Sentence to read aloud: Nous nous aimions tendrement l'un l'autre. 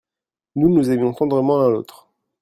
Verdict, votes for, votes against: rejected, 1, 2